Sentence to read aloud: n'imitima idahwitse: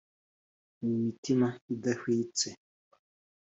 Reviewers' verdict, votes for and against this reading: accepted, 2, 0